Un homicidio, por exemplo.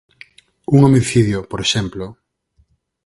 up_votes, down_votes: 6, 0